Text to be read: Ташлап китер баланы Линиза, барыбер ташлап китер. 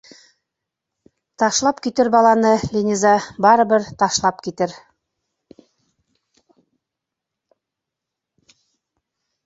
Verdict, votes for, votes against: accepted, 2, 0